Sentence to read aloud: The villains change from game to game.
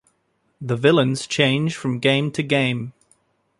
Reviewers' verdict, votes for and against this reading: accepted, 2, 1